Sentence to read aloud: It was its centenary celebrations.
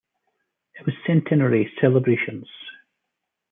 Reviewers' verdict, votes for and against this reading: rejected, 1, 2